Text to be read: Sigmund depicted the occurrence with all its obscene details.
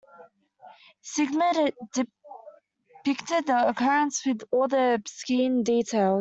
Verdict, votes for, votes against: rejected, 0, 2